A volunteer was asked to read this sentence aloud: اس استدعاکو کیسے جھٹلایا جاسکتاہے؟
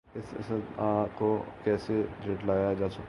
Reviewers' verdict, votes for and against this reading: rejected, 0, 2